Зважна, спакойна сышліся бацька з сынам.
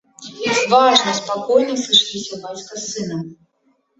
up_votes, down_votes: 1, 3